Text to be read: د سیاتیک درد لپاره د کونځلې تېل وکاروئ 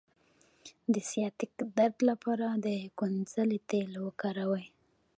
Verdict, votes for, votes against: rejected, 0, 2